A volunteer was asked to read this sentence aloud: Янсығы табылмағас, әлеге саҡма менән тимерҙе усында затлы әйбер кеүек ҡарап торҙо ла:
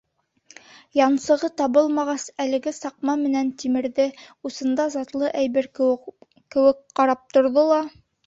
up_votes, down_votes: 0, 2